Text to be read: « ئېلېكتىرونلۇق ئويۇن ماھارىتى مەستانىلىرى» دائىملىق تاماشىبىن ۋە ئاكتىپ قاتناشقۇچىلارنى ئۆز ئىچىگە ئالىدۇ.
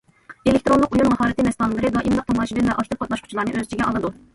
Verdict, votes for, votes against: rejected, 1, 2